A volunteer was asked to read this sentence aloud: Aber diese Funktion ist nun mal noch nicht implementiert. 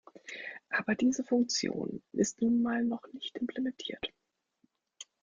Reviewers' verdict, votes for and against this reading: rejected, 1, 2